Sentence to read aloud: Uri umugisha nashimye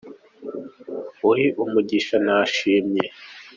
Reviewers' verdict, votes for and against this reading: accepted, 2, 0